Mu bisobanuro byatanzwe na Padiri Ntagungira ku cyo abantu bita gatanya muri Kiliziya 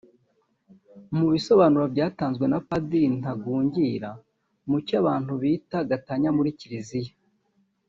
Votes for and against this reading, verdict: 1, 2, rejected